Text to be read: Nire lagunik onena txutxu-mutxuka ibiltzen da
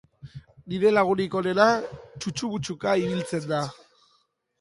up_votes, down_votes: 2, 0